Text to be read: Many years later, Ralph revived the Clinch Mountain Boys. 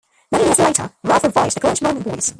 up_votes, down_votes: 0, 2